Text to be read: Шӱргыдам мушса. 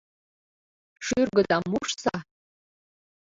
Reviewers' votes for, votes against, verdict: 0, 2, rejected